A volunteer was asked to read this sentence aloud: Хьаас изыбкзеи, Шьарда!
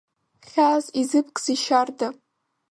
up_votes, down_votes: 2, 0